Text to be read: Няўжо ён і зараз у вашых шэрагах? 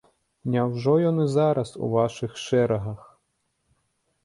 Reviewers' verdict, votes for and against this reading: accepted, 2, 0